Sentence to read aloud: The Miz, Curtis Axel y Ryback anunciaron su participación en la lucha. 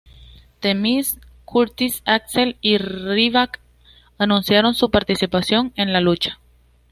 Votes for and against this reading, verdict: 2, 0, accepted